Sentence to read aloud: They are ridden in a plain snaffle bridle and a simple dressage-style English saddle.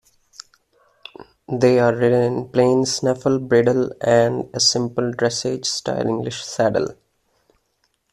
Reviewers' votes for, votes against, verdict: 2, 0, accepted